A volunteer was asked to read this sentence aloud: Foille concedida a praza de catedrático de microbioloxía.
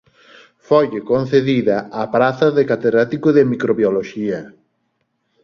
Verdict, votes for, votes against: accepted, 2, 0